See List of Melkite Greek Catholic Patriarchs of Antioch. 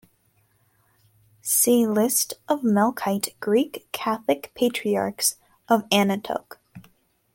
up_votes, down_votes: 0, 2